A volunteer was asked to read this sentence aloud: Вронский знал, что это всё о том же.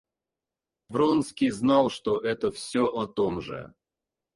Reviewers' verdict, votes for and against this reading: rejected, 2, 4